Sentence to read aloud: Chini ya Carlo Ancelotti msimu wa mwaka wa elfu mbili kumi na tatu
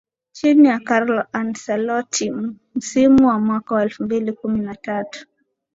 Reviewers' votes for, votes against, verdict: 2, 0, accepted